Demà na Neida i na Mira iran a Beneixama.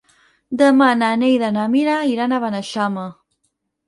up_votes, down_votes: 2, 4